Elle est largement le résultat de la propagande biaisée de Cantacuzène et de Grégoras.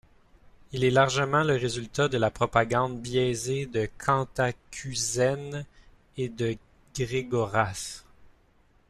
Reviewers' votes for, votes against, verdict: 0, 2, rejected